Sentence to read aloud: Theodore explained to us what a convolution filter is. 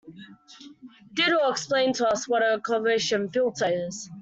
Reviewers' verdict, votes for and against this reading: rejected, 0, 2